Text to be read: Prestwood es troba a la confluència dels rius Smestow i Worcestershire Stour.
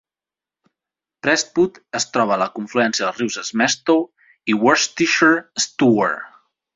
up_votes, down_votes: 0, 2